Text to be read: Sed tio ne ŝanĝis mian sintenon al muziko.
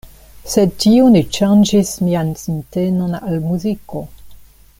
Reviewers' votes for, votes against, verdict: 1, 2, rejected